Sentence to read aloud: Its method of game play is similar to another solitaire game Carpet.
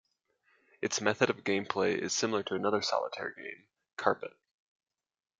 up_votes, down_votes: 2, 0